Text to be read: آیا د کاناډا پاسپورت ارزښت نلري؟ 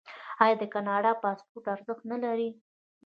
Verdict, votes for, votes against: accepted, 3, 2